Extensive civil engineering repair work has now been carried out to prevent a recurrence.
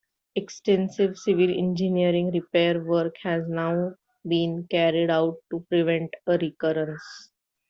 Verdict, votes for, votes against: accepted, 2, 0